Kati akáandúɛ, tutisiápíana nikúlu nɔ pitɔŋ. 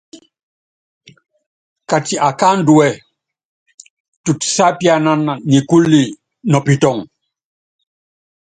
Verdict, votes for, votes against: accepted, 3, 0